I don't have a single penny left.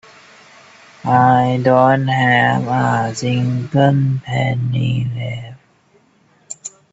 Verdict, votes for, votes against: rejected, 0, 2